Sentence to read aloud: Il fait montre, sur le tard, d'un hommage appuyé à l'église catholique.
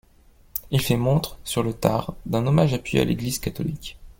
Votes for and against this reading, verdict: 2, 0, accepted